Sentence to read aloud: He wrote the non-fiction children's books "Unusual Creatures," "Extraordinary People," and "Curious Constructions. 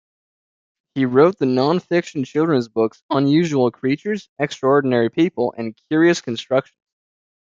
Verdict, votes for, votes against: rejected, 1, 2